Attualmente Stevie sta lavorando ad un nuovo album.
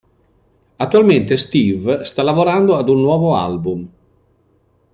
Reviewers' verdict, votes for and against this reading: rejected, 0, 2